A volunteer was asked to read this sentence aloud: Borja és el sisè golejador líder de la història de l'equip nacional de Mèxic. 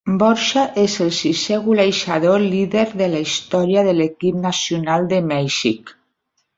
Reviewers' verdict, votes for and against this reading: rejected, 1, 2